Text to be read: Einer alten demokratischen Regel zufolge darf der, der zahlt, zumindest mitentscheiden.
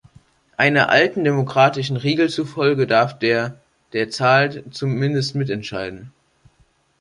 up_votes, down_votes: 2, 0